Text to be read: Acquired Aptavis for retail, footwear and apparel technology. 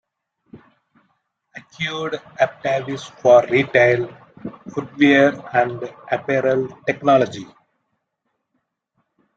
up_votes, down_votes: 0, 2